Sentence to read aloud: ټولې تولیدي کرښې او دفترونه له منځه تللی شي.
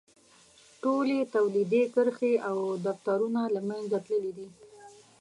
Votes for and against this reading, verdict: 1, 2, rejected